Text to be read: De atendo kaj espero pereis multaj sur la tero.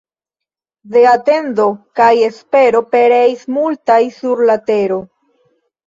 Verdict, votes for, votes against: accepted, 2, 1